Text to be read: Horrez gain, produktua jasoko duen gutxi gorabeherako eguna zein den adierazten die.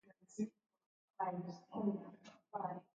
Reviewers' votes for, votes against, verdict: 0, 2, rejected